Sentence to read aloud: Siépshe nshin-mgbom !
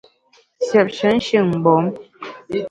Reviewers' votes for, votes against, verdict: 1, 2, rejected